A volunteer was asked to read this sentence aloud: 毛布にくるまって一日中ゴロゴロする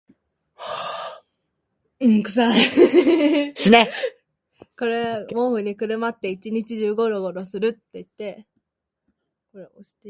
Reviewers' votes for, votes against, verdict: 0, 2, rejected